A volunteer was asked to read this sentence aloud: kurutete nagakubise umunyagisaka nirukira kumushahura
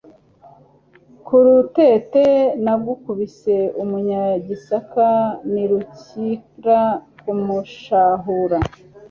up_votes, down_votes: 1, 2